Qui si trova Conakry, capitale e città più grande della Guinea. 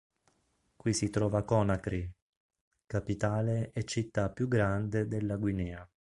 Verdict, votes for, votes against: accepted, 3, 0